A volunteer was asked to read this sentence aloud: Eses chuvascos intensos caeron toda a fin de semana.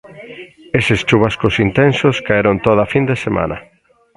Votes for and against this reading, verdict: 1, 2, rejected